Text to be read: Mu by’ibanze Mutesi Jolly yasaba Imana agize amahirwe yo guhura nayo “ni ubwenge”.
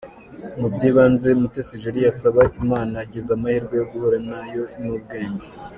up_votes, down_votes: 2, 0